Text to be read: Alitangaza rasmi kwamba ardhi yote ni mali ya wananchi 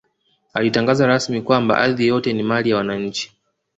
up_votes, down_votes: 2, 0